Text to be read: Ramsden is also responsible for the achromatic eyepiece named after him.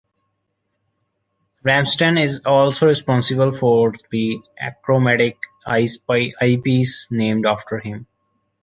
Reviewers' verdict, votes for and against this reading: rejected, 1, 2